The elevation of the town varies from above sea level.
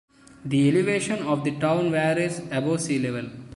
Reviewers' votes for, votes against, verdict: 0, 2, rejected